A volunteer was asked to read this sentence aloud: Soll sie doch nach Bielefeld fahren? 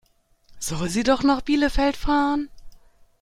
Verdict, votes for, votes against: accepted, 2, 1